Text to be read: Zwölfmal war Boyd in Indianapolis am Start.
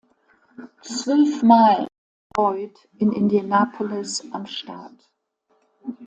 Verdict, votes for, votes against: rejected, 0, 2